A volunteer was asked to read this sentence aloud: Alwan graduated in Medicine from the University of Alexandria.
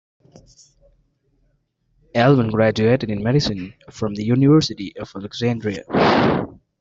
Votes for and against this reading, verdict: 2, 0, accepted